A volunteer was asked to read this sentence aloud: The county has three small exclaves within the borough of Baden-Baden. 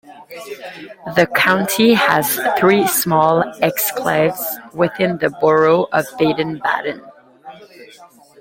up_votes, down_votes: 2, 0